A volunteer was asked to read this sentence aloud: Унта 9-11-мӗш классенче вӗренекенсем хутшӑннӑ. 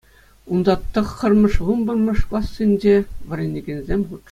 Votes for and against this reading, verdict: 0, 2, rejected